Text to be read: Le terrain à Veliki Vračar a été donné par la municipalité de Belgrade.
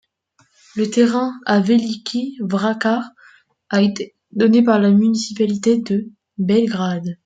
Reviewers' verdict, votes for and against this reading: rejected, 1, 2